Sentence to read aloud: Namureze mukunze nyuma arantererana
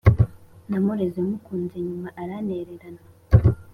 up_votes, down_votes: 2, 0